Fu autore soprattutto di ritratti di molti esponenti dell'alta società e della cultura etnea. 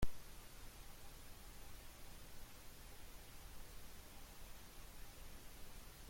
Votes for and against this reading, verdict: 1, 2, rejected